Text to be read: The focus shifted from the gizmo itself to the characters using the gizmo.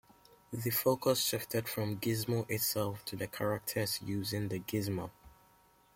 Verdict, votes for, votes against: rejected, 0, 2